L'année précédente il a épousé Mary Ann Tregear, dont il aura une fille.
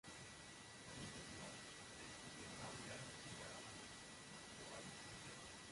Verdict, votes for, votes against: rejected, 0, 2